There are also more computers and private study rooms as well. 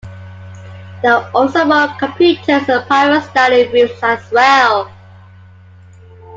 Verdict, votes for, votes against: accepted, 2, 0